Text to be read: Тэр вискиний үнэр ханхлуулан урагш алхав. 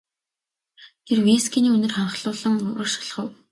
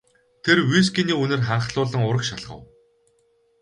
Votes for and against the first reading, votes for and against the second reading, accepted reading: 2, 0, 0, 2, first